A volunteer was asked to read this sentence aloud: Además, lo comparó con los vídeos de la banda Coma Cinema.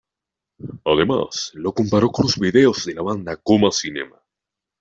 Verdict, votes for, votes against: rejected, 1, 2